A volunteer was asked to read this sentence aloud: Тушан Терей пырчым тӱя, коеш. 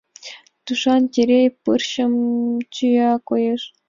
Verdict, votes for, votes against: accepted, 2, 1